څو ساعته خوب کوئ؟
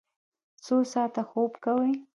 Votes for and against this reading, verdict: 0, 2, rejected